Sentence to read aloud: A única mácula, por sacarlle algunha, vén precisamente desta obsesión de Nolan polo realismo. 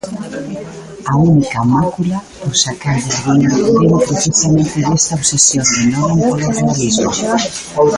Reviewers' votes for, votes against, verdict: 1, 2, rejected